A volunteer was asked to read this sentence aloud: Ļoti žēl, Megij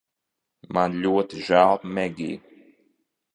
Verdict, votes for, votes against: rejected, 0, 2